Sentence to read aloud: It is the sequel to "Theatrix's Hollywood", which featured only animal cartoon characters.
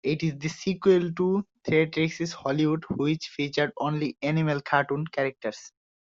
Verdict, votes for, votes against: accepted, 2, 0